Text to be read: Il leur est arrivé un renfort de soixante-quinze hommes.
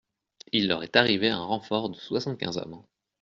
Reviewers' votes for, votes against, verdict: 2, 0, accepted